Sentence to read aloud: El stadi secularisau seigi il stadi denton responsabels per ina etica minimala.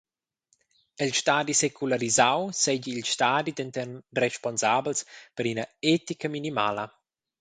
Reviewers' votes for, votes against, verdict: 0, 2, rejected